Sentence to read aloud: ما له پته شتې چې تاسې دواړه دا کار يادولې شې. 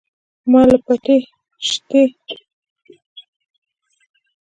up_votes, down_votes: 1, 2